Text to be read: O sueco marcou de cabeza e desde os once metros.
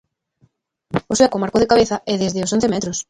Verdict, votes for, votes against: rejected, 0, 2